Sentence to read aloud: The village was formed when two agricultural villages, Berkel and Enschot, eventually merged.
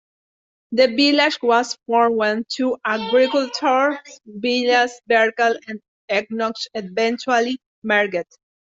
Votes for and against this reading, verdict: 0, 2, rejected